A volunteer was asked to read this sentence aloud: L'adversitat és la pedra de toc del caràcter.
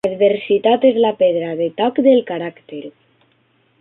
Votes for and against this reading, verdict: 0, 2, rejected